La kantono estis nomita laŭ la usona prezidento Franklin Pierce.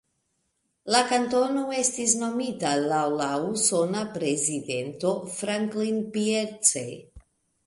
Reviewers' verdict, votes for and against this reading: accepted, 2, 0